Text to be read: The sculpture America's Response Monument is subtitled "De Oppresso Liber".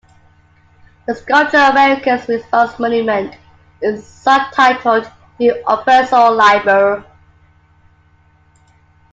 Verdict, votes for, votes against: accepted, 2, 1